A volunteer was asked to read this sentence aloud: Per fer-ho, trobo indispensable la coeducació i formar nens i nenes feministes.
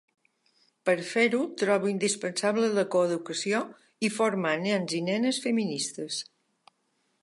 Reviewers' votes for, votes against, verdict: 2, 0, accepted